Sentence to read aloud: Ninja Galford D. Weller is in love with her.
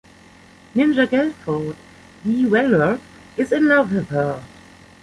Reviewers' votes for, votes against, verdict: 0, 2, rejected